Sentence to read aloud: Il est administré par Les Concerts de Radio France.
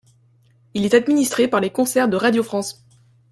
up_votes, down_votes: 2, 0